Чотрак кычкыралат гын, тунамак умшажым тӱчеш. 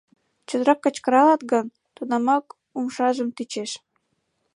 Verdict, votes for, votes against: accepted, 2, 1